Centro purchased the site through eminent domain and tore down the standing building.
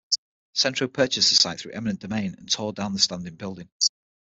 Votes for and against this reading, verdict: 3, 6, rejected